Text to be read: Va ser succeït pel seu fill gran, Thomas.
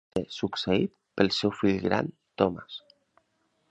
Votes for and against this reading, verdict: 1, 2, rejected